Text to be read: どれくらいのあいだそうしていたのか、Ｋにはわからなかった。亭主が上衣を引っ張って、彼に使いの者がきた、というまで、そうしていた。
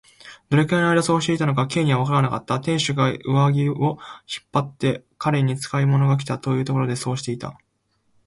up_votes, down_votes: 1, 2